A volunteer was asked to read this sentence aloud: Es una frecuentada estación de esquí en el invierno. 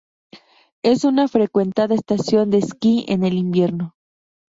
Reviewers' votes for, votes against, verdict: 4, 0, accepted